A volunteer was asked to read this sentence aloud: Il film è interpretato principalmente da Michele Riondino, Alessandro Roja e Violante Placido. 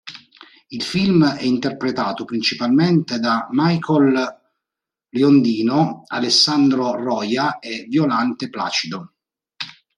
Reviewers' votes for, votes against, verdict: 0, 2, rejected